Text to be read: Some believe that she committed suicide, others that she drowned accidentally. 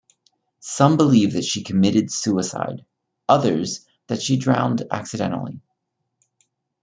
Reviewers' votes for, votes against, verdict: 1, 2, rejected